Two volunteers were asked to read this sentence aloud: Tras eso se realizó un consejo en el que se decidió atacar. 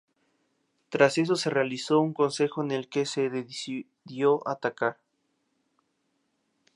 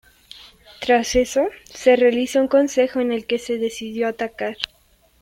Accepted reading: first